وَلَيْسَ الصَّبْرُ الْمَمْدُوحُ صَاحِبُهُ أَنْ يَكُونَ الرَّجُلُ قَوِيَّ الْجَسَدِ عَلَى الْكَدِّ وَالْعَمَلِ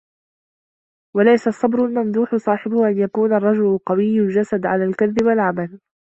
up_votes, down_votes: 0, 2